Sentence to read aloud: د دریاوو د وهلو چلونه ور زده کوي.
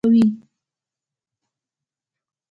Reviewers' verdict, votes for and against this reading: rejected, 1, 2